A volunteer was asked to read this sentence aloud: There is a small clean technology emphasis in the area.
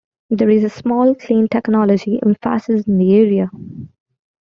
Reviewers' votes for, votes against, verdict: 0, 2, rejected